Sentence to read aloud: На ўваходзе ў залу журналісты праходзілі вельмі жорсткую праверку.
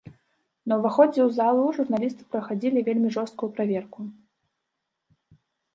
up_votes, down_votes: 0, 2